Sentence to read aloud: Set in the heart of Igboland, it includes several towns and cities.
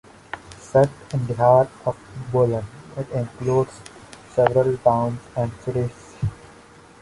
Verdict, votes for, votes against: rejected, 0, 2